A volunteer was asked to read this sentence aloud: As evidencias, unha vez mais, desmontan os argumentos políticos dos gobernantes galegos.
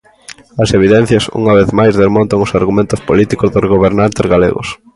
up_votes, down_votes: 2, 0